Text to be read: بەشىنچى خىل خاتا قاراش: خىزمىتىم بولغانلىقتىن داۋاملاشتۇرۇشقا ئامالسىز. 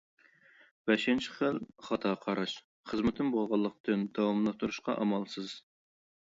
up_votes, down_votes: 0, 2